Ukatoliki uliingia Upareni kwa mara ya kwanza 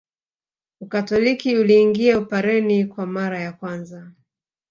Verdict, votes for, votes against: rejected, 0, 2